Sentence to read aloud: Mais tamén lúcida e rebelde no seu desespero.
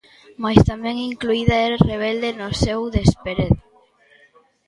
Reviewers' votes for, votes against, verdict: 0, 2, rejected